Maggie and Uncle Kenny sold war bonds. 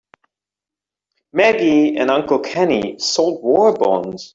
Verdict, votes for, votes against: rejected, 1, 2